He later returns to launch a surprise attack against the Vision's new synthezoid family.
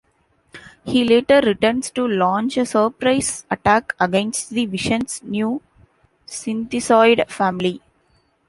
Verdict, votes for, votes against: accepted, 2, 0